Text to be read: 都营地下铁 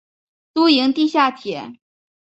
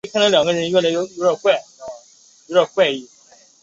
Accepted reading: first